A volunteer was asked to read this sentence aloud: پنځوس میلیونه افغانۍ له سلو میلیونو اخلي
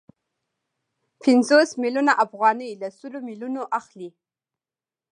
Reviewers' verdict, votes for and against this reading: accepted, 2, 0